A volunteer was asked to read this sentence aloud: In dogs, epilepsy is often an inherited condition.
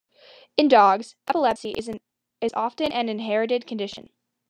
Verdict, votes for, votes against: rejected, 0, 2